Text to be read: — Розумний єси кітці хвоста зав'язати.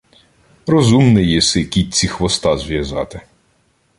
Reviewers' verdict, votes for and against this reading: rejected, 1, 2